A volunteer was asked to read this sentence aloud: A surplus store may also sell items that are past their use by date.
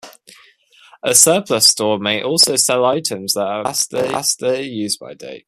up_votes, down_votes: 1, 2